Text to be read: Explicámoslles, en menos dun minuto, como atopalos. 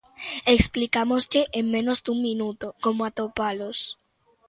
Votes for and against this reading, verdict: 0, 2, rejected